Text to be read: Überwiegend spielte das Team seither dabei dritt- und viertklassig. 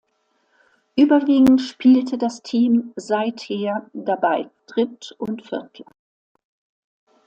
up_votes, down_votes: 1, 2